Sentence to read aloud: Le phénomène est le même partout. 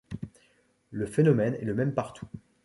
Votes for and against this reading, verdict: 2, 0, accepted